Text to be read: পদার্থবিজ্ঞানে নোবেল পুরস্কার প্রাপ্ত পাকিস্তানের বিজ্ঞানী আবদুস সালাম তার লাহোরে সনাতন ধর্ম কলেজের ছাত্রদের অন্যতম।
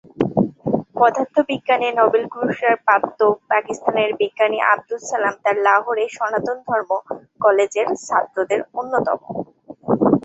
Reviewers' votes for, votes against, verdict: 2, 0, accepted